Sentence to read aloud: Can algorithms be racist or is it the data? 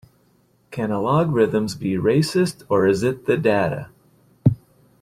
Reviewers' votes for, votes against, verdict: 1, 2, rejected